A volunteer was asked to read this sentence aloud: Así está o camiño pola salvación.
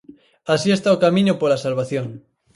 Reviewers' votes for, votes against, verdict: 4, 0, accepted